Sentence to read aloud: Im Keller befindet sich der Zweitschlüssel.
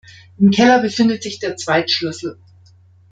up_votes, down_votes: 2, 0